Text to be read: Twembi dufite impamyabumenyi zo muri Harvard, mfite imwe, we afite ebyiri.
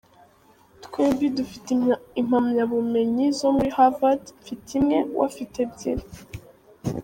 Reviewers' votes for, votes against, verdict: 2, 3, rejected